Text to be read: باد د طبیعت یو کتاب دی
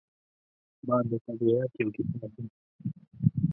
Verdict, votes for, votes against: rejected, 1, 2